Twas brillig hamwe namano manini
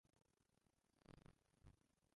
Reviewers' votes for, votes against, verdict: 0, 2, rejected